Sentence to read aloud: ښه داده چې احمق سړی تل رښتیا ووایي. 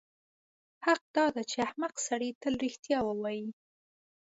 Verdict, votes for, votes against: rejected, 1, 2